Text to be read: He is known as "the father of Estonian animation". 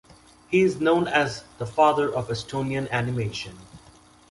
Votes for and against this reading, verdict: 3, 0, accepted